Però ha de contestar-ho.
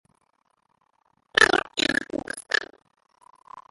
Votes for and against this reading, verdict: 0, 2, rejected